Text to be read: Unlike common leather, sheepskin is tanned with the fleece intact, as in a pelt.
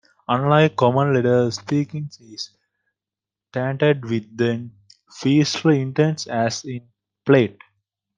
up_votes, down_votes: 1, 2